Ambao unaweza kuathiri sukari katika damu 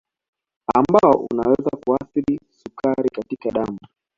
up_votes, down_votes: 2, 1